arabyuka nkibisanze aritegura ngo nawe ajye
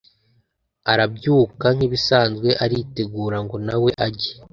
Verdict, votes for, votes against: accepted, 2, 0